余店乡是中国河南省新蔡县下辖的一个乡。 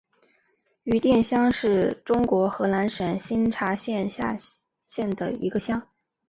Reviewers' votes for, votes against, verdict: 5, 1, accepted